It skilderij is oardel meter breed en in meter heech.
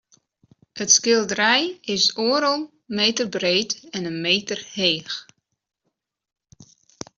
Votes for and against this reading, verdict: 2, 0, accepted